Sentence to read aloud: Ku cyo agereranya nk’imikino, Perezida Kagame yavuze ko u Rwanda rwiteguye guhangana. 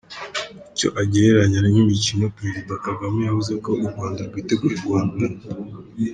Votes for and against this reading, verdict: 1, 2, rejected